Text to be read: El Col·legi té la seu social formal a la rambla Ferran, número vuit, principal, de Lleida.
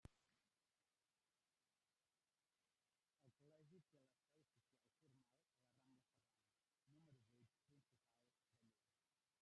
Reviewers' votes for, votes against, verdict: 0, 2, rejected